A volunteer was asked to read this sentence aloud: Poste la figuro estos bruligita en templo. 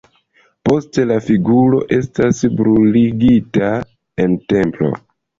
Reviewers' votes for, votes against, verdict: 0, 2, rejected